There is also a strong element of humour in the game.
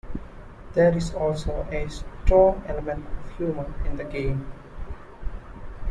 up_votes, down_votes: 2, 0